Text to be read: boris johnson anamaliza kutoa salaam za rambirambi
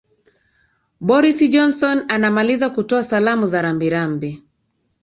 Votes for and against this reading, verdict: 2, 0, accepted